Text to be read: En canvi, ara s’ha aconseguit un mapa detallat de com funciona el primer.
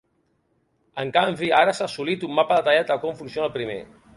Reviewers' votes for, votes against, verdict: 2, 3, rejected